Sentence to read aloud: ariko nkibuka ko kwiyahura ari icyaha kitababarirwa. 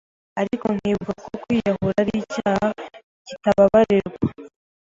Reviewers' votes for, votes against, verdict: 0, 2, rejected